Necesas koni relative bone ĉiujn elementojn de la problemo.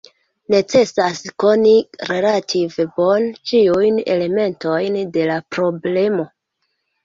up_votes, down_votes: 2, 1